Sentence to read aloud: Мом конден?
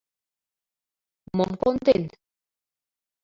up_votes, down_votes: 2, 0